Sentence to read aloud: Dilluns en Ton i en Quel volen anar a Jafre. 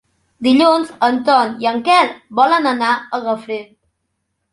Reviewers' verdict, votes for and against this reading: rejected, 1, 2